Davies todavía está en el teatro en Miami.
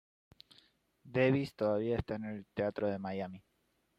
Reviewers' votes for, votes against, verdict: 0, 2, rejected